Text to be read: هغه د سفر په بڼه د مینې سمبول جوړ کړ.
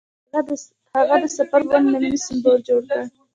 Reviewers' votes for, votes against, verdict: 1, 2, rejected